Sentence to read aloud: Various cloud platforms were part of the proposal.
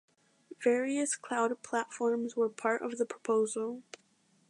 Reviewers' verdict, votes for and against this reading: accepted, 2, 0